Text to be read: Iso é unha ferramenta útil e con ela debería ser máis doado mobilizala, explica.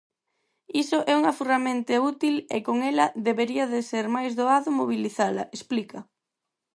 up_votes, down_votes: 0, 4